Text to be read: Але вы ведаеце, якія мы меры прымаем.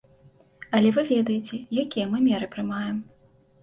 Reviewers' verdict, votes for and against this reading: accepted, 3, 0